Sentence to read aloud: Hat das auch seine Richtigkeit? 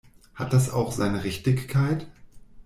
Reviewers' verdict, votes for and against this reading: accepted, 2, 0